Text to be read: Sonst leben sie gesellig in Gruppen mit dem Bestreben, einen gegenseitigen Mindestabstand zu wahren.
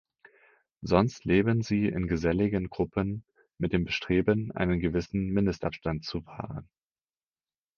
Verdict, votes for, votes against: rejected, 0, 4